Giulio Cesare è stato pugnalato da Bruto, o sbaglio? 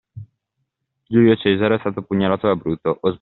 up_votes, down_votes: 0, 2